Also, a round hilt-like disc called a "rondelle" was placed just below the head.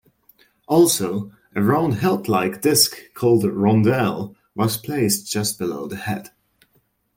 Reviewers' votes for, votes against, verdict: 2, 0, accepted